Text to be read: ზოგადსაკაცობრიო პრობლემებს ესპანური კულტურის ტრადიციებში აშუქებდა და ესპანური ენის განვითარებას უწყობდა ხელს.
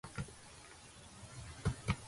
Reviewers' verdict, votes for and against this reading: rejected, 0, 2